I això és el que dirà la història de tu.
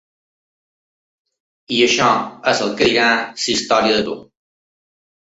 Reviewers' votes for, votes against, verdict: 0, 2, rejected